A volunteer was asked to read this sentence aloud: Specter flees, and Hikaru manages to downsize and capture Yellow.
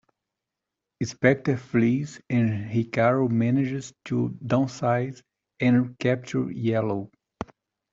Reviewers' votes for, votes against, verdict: 2, 1, accepted